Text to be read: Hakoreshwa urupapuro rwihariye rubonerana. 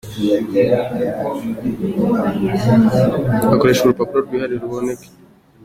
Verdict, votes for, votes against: rejected, 0, 2